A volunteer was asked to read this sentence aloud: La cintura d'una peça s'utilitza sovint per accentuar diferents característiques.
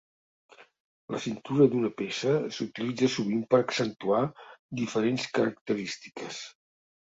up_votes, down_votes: 3, 0